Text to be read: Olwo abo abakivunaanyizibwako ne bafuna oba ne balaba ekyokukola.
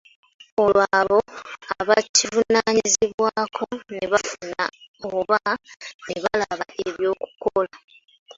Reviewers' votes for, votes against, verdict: 2, 1, accepted